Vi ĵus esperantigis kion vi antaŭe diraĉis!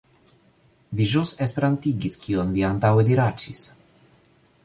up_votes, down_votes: 2, 0